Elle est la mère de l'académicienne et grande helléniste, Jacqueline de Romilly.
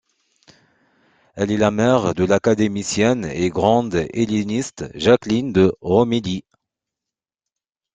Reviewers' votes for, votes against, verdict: 2, 1, accepted